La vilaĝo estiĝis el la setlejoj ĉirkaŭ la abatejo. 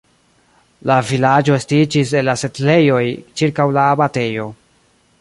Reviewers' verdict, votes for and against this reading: rejected, 1, 2